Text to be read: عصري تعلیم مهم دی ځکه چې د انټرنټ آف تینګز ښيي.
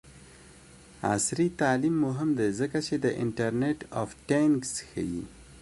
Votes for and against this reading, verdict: 1, 2, rejected